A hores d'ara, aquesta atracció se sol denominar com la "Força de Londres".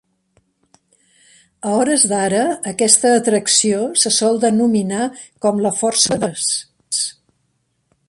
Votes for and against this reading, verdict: 0, 2, rejected